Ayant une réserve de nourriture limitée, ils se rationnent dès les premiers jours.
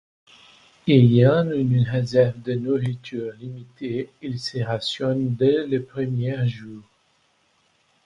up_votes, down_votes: 0, 2